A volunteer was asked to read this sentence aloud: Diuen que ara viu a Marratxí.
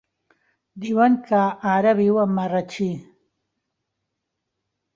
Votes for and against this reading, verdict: 3, 0, accepted